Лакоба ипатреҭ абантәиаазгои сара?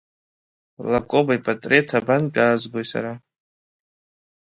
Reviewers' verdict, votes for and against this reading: accepted, 2, 1